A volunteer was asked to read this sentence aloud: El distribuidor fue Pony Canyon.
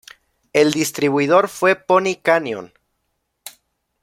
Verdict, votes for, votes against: accepted, 2, 0